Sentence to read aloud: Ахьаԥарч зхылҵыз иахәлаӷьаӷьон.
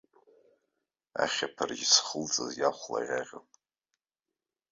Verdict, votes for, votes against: accepted, 2, 0